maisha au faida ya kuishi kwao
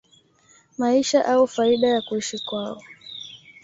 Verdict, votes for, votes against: accepted, 2, 0